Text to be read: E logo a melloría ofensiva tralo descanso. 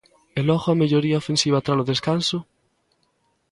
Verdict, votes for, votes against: accepted, 2, 0